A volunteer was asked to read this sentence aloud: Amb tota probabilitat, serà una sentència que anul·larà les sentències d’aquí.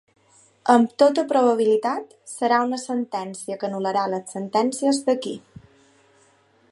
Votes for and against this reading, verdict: 2, 0, accepted